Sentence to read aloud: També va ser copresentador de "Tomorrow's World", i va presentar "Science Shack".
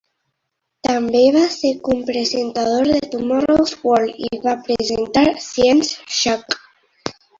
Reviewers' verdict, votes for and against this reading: rejected, 1, 2